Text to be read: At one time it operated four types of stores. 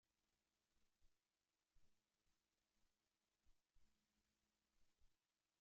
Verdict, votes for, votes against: rejected, 0, 2